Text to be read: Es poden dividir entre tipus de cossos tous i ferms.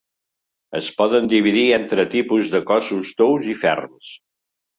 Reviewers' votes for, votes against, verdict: 2, 0, accepted